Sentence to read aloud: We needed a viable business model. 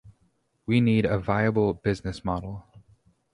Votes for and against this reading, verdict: 0, 2, rejected